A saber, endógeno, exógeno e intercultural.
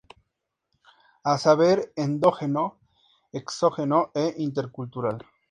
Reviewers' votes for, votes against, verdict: 2, 0, accepted